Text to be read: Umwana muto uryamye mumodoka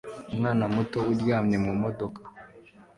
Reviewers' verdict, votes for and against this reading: accepted, 2, 0